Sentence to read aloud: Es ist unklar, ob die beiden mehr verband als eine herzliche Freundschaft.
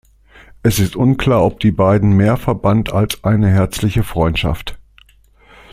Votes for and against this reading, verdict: 2, 0, accepted